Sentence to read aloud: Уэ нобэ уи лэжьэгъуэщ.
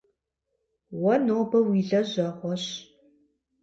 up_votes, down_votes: 4, 0